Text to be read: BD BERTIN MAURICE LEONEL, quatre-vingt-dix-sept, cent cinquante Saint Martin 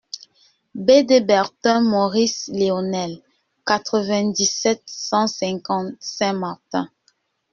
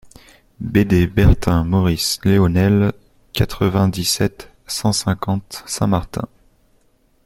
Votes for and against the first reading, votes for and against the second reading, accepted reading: 0, 2, 2, 0, second